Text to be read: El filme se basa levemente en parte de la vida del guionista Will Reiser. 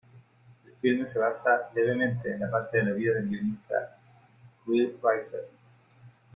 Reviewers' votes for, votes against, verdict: 2, 0, accepted